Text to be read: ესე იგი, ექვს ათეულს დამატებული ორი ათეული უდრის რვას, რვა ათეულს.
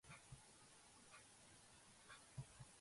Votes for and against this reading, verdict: 0, 2, rejected